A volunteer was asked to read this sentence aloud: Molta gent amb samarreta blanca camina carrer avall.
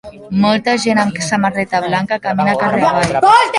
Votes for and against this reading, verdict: 0, 2, rejected